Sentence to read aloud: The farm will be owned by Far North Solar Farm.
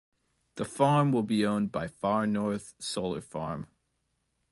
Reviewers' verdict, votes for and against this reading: accepted, 2, 0